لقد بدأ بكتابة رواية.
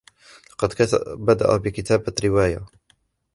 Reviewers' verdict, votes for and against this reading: rejected, 0, 2